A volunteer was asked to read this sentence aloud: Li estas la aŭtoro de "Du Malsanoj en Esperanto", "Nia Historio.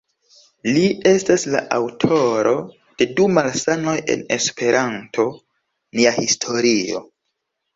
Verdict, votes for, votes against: rejected, 0, 2